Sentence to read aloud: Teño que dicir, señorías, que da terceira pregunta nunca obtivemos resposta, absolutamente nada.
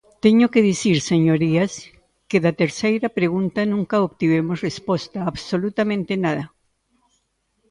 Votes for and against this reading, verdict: 2, 0, accepted